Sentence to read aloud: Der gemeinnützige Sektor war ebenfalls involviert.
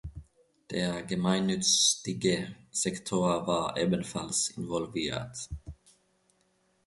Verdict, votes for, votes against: rejected, 1, 2